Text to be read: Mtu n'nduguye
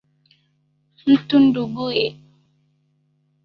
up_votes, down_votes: 2, 1